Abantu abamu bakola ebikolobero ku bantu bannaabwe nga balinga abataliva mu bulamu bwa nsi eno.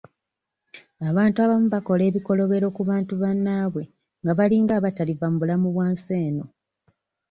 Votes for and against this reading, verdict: 2, 0, accepted